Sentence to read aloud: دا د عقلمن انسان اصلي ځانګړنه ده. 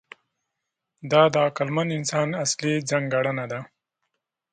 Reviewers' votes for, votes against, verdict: 2, 0, accepted